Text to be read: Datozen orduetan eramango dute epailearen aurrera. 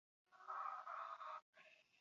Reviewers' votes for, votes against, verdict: 0, 4, rejected